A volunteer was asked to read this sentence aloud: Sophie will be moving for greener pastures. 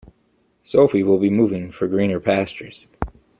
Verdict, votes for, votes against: accepted, 2, 0